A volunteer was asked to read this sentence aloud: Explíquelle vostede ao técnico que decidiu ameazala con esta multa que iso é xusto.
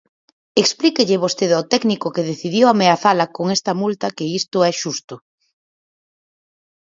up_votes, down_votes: 2, 4